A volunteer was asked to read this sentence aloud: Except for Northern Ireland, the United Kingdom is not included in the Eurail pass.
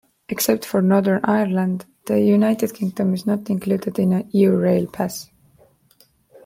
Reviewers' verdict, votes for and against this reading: accepted, 2, 1